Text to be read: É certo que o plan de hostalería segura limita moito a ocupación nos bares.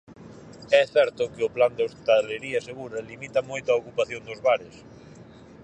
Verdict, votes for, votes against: rejected, 0, 4